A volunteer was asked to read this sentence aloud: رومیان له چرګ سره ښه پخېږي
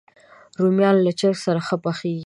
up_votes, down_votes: 2, 0